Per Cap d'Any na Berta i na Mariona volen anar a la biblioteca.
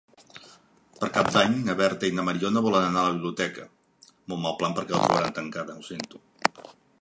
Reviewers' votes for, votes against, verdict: 0, 2, rejected